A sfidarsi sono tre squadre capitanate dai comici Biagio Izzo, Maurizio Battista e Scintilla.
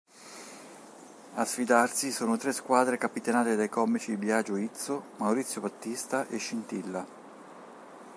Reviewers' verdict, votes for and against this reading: accepted, 2, 0